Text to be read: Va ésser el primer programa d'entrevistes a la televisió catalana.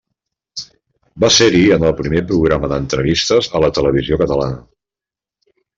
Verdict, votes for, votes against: rejected, 1, 2